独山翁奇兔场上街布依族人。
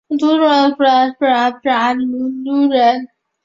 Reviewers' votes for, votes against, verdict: 0, 2, rejected